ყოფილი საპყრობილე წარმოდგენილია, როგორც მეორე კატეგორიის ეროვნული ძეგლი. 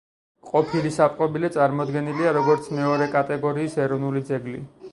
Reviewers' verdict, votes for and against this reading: rejected, 2, 4